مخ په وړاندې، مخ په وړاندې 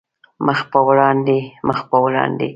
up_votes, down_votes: 2, 0